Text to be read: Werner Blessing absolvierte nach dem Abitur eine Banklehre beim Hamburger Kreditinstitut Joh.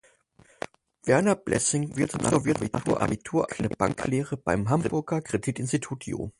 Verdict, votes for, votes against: rejected, 0, 2